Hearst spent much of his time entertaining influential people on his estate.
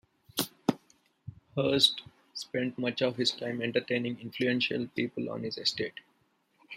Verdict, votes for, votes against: rejected, 1, 2